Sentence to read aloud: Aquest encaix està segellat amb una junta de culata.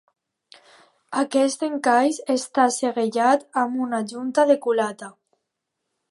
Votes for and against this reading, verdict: 2, 1, accepted